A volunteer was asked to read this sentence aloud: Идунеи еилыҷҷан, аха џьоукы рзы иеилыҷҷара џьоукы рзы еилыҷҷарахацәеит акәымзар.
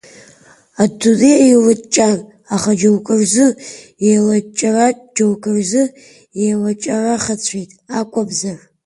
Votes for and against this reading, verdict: 1, 2, rejected